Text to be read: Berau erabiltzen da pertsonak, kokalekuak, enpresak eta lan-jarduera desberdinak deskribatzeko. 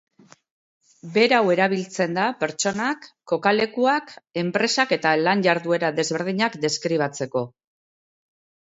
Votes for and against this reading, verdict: 2, 0, accepted